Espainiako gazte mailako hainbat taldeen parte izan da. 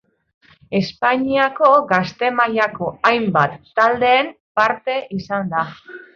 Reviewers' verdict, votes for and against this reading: accepted, 2, 0